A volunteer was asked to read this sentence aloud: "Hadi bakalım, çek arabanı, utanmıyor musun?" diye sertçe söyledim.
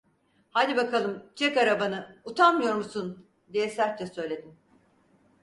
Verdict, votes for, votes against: accepted, 4, 0